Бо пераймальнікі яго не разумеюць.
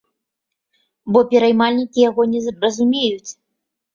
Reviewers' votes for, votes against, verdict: 1, 2, rejected